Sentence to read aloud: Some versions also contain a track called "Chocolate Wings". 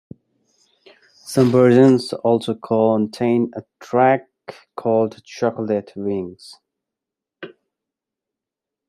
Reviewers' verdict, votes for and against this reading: accepted, 2, 1